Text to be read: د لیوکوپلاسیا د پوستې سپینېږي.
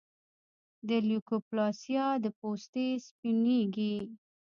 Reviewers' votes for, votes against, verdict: 0, 2, rejected